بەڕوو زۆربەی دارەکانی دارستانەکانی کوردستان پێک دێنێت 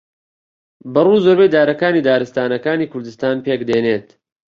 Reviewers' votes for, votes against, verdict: 2, 0, accepted